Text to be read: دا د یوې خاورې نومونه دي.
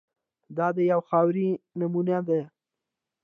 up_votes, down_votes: 0, 2